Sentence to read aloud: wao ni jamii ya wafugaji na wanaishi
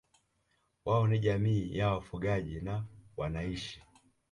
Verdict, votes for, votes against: accepted, 2, 0